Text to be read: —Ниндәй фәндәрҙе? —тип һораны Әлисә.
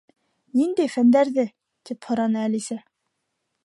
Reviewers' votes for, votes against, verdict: 2, 0, accepted